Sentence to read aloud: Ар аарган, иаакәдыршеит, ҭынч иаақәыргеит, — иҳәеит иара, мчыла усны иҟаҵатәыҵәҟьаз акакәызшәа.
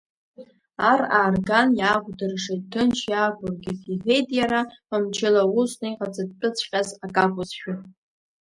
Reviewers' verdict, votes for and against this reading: rejected, 0, 2